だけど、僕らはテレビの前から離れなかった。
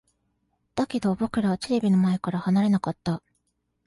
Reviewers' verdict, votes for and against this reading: accepted, 2, 0